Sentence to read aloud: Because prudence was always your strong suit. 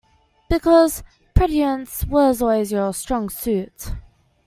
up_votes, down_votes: 1, 2